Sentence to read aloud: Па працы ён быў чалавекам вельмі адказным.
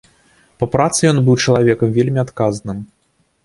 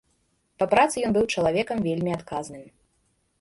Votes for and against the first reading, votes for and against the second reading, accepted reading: 2, 0, 1, 2, first